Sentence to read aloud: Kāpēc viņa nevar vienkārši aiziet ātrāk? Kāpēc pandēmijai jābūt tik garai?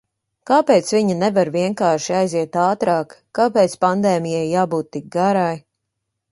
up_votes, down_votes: 2, 0